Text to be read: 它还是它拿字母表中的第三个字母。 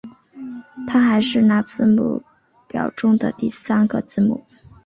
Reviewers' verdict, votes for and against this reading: rejected, 1, 2